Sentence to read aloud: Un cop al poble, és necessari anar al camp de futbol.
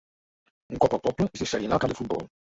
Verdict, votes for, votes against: rejected, 0, 2